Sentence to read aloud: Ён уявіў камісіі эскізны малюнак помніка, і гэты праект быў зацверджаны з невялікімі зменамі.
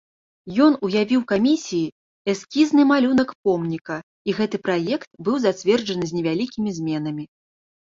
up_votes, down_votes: 2, 0